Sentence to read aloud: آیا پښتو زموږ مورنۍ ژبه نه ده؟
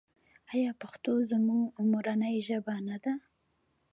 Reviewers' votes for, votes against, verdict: 1, 2, rejected